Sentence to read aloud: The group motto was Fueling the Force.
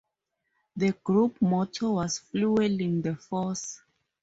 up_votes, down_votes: 0, 2